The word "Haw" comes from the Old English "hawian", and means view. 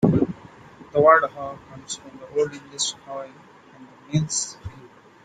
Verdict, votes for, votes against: rejected, 1, 2